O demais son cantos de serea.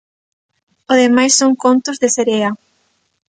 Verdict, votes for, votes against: rejected, 0, 3